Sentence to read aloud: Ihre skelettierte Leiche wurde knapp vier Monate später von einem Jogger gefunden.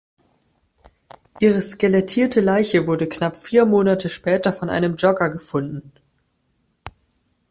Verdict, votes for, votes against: accepted, 2, 0